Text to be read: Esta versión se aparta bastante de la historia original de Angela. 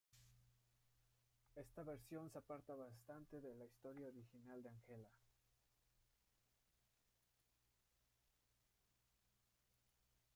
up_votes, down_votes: 1, 2